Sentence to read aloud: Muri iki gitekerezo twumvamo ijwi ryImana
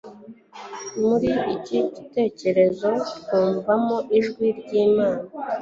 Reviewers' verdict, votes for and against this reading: accepted, 2, 0